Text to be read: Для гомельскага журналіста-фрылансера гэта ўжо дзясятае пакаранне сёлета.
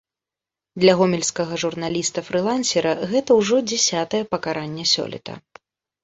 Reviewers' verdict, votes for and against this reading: accepted, 2, 0